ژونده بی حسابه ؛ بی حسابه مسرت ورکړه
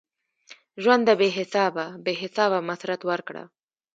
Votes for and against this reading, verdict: 2, 0, accepted